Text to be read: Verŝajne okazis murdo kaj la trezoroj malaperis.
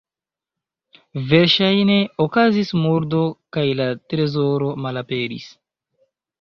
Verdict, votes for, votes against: rejected, 0, 2